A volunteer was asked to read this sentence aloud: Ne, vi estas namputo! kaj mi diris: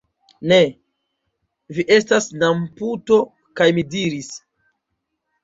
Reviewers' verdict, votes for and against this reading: rejected, 1, 2